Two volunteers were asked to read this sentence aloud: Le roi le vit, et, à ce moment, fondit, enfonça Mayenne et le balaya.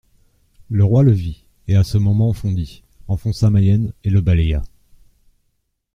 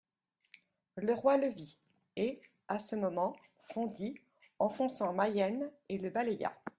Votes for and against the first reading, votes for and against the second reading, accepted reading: 2, 0, 0, 2, first